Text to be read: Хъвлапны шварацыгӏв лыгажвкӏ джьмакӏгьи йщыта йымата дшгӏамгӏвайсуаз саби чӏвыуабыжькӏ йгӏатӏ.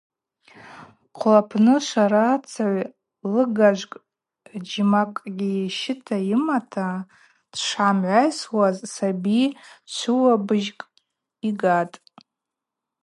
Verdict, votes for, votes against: rejected, 2, 2